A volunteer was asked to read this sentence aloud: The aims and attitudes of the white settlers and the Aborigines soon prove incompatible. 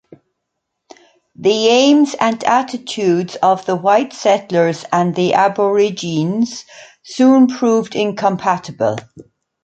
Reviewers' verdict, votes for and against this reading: rejected, 0, 2